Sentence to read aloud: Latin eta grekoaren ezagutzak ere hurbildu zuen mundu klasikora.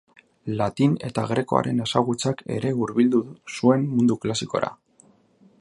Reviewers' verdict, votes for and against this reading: rejected, 1, 2